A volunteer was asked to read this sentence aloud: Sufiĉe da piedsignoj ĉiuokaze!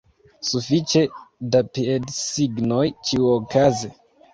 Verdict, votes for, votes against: rejected, 1, 2